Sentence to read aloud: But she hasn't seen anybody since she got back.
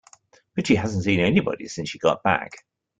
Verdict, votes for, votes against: accepted, 2, 0